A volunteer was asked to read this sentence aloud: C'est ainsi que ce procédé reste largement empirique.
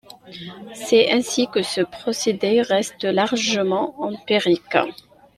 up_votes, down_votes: 2, 0